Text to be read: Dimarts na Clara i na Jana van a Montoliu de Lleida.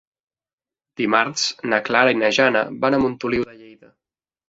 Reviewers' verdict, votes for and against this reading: accepted, 2, 0